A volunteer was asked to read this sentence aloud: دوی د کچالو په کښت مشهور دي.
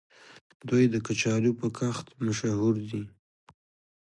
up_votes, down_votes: 2, 1